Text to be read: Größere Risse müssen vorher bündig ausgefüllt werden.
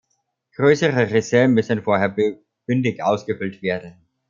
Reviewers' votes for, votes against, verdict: 2, 1, accepted